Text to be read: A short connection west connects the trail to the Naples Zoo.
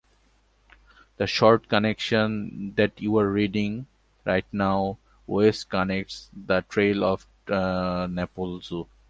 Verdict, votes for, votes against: rejected, 0, 2